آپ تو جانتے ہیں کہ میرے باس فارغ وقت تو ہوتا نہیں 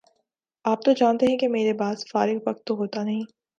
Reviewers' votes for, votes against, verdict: 2, 0, accepted